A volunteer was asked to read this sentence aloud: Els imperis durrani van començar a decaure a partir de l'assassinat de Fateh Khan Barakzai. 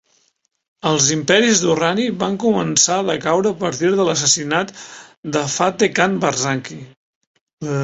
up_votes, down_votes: 0, 2